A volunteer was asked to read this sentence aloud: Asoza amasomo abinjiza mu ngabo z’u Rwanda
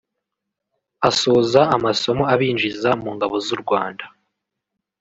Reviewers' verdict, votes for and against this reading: accepted, 2, 0